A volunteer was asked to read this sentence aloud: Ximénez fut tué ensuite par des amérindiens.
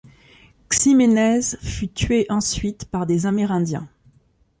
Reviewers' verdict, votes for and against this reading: accepted, 2, 0